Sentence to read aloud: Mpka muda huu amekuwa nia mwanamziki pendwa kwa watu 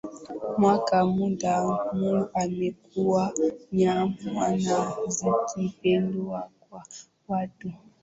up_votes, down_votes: 1, 2